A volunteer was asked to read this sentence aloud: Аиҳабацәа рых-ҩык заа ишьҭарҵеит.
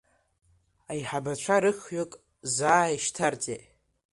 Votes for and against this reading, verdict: 0, 2, rejected